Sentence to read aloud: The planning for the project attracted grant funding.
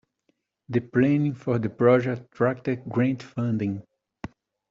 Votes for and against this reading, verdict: 2, 1, accepted